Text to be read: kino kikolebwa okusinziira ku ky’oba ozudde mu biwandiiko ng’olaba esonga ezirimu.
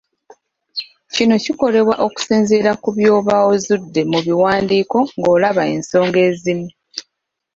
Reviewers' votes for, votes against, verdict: 0, 3, rejected